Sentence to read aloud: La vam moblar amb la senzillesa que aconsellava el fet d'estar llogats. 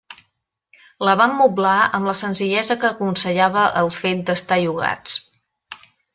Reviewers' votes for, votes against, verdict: 2, 0, accepted